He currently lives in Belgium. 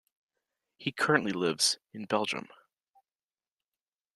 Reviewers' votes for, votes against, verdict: 2, 1, accepted